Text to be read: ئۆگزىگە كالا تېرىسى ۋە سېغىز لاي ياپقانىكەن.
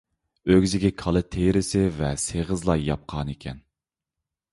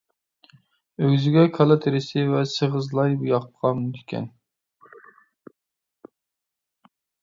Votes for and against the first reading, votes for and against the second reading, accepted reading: 3, 0, 1, 2, first